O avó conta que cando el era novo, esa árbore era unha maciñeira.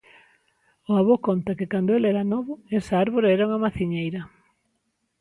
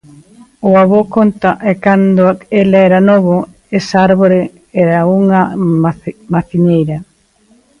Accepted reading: first